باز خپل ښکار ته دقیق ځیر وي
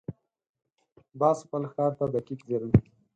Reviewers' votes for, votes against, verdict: 2, 4, rejected